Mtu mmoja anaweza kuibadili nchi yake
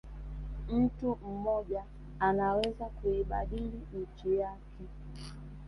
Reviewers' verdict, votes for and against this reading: rejected, 0, 2